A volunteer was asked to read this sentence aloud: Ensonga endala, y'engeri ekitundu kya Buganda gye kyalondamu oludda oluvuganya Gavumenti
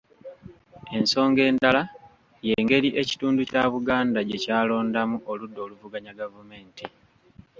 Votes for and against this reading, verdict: 2, 0, accepted